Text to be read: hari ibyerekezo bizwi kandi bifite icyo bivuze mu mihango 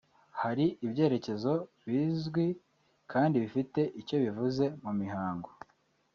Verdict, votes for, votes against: accepted, 2, 1